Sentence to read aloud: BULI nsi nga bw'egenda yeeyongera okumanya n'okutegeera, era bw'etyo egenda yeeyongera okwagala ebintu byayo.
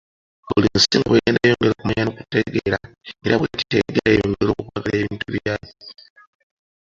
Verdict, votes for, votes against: rejected, 0, 2